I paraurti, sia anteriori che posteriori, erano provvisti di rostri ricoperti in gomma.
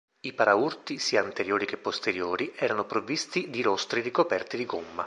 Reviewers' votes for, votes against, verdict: 0, 2, rejected